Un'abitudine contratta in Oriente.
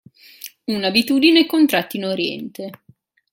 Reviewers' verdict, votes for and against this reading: accepted, 2, 0